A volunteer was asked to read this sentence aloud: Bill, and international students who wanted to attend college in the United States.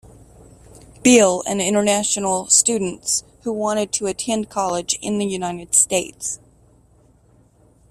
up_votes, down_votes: 2, 0